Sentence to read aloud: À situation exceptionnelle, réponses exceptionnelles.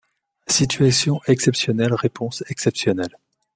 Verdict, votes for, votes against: rejected, 1, 2